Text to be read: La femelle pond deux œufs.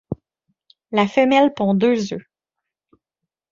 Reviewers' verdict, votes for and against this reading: accepted, 2, 0